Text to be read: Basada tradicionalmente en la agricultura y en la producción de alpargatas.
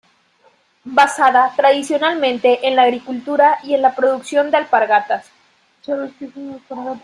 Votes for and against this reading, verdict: 2, 0, accepted